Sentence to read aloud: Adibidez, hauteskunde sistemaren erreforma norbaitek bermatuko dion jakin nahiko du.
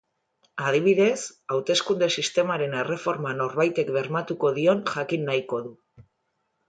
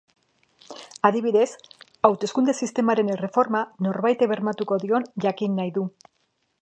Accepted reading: first